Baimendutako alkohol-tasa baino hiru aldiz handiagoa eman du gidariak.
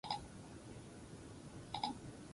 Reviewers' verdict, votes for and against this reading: rejected, 0, 6